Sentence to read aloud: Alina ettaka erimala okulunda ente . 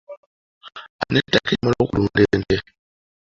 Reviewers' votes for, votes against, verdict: 1, 2, rejected